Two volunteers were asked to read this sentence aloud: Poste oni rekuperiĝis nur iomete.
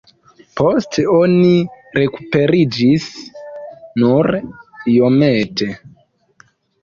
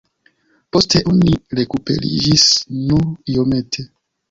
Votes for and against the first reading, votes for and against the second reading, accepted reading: 1, 2, 2, 0, second